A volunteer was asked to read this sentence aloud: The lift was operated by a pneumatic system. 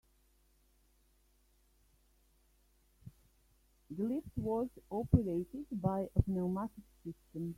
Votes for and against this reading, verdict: 2, 0, accepted